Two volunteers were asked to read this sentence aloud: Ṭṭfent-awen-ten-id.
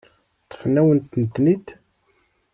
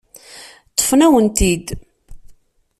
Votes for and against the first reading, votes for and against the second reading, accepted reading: 1, 2, 2, 0, second